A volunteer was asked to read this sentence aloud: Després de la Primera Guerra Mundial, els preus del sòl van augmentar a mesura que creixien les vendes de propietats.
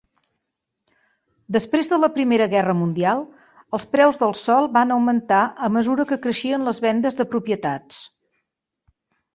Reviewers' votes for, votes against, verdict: 2, 0, accepted